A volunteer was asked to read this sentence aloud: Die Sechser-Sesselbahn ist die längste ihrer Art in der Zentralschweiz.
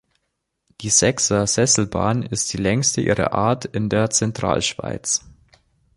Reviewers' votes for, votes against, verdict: 2, 0, accepted